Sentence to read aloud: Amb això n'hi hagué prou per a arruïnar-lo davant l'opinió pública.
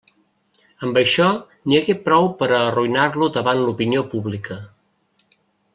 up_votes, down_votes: 2, 0